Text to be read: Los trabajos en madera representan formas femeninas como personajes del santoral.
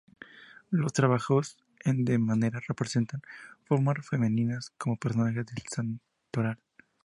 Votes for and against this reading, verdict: 2, 0, accepted